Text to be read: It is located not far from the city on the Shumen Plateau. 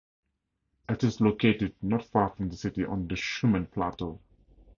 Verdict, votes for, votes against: accepted, 2, 0